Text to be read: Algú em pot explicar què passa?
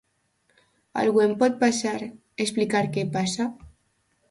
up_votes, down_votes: 1, 2